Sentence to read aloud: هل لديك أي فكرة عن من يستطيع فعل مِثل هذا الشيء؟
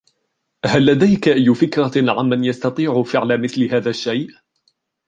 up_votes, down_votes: 1, 2